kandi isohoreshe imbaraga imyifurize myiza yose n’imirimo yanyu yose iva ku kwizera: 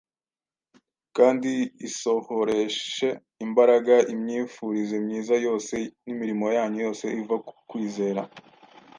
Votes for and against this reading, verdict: 2, 0, accepted